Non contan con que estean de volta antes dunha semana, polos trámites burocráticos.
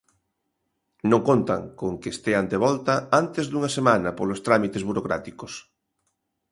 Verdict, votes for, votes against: accepted, 2, 0